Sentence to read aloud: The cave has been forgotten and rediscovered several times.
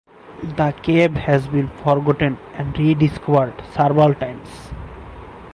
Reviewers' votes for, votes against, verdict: 2, 0, accepted